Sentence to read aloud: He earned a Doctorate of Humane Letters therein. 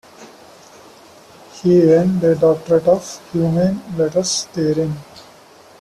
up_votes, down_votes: 0, 2